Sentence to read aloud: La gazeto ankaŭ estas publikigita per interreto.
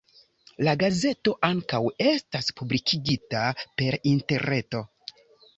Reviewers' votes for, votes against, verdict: 2, 0, accepted